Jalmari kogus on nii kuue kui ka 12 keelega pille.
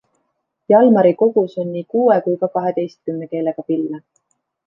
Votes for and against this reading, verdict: 0, 2, rejected